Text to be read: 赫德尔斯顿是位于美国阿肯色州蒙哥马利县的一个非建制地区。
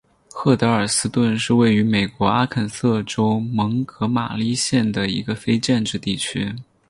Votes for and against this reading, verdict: 6, 0, accepted